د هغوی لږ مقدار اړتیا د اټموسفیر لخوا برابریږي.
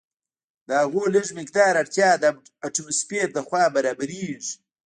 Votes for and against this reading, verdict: 1, 2, rejected